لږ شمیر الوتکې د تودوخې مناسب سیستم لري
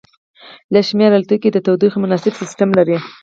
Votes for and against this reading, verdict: 2, 4, rejected